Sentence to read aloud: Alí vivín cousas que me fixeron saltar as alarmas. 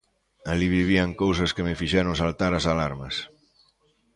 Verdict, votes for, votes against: rejected, 0, 2